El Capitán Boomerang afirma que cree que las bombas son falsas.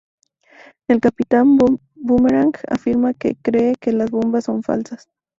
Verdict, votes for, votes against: rejected, 0, 2